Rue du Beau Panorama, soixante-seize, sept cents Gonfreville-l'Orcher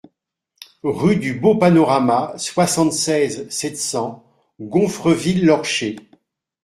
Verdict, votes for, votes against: accepted, 2, 0